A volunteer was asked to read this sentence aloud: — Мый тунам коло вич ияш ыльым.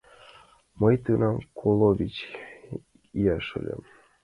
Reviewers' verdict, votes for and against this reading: accepted, 2, 1